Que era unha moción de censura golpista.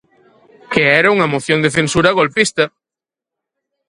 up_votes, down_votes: 2, 4